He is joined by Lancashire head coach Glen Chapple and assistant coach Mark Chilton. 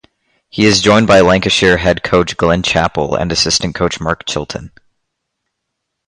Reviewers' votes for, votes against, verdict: 0, 2, rejected